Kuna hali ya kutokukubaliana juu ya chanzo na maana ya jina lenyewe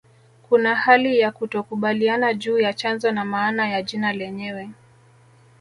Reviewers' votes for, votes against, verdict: 2, 0, accepted